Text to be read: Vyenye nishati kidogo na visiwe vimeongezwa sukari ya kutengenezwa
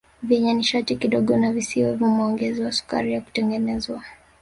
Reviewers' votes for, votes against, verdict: 2, 0, accepted